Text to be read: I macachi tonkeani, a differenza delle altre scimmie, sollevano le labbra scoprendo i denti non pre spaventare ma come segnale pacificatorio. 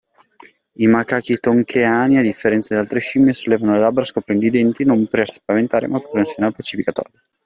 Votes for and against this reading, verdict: 2, 1, accepted